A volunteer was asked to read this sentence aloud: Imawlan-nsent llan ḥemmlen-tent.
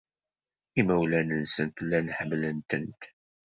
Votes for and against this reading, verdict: 2, 0, accepted